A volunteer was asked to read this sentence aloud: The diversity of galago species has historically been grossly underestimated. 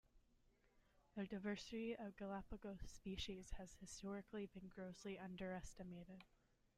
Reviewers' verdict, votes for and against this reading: rejected, 0, 2